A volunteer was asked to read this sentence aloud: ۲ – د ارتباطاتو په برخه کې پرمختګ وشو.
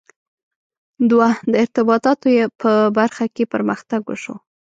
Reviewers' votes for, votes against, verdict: 0, 2, rejected